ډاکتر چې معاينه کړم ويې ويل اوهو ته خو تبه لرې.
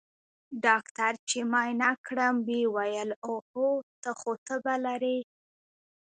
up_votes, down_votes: 1, 2